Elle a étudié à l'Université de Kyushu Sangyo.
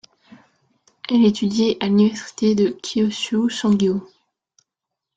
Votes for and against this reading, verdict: 2, 1, accepted